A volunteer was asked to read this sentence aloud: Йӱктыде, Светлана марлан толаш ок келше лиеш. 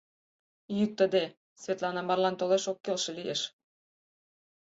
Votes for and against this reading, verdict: 8, 0, accepted